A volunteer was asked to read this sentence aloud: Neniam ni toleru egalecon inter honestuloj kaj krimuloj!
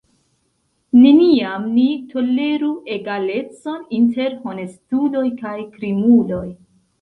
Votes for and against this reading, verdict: 2, 0, accepted